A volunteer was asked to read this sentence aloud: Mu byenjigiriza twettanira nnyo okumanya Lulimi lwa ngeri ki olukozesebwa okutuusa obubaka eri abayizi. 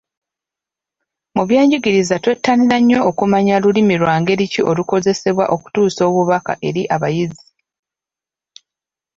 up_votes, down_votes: 2, 0